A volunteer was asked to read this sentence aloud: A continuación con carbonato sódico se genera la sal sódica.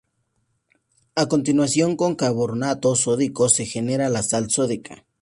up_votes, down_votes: 0, 2